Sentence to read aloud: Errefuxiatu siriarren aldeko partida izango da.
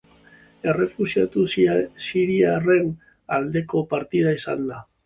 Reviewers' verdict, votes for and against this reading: rejected, 0, 2